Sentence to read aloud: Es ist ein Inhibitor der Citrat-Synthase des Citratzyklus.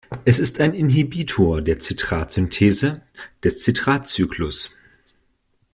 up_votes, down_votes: 1, 2